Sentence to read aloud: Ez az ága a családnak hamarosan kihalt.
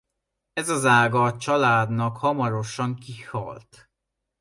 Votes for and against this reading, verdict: 2, 0, accepted